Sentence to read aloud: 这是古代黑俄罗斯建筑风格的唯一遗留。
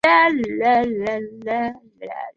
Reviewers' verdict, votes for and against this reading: rejected, 0, 7